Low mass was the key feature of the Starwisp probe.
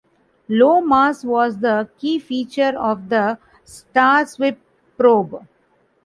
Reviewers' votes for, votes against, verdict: 0, 2, rejected